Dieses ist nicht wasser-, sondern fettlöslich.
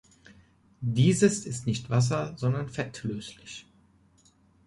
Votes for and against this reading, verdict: 2, 0, accepted